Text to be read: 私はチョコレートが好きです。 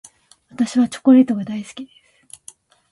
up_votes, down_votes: 1, 2